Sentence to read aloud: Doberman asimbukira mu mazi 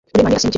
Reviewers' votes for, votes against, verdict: 0, 2, rejected